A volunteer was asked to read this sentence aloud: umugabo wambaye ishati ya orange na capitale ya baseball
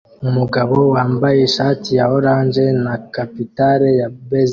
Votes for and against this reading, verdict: 1, 2, rejected